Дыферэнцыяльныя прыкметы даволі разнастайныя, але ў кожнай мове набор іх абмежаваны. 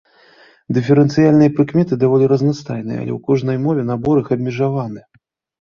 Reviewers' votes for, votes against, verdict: 2, 0, accepted